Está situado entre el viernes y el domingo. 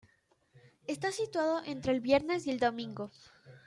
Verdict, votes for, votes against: accepted, 2, 0